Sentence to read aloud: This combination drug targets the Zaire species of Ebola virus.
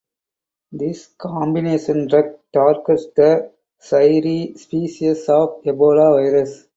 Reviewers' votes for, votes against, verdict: 4, 2, accepted